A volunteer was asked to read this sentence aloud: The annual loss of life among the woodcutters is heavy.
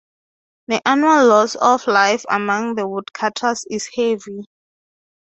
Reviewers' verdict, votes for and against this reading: rejected, 3, 3